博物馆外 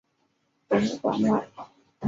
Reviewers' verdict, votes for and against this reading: rejected, 0, 2